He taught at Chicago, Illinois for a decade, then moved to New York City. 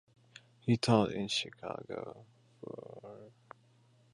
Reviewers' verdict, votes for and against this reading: rejected, 0, 2